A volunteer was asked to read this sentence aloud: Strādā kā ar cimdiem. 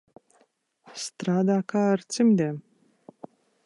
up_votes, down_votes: 2, 0